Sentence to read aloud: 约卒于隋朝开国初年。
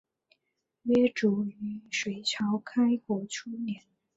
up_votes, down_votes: 8, 0